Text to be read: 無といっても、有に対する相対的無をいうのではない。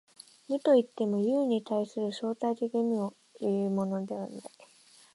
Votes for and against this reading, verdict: 1, 2, rejected